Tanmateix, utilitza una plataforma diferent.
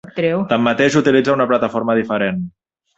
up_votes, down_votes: 0, 2